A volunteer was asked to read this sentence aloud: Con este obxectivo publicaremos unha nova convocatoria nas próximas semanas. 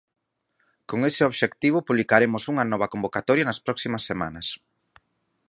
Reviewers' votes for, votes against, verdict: 0, 4, rejected